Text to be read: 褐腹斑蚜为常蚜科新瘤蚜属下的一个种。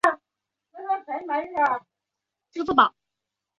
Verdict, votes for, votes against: rejected, 0, 2